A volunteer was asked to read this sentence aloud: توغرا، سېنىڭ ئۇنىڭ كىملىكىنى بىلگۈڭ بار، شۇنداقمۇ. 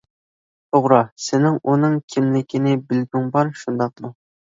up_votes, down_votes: 2, 0